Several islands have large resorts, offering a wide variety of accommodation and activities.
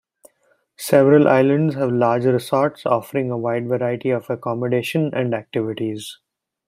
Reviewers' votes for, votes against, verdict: 2, 0, accepted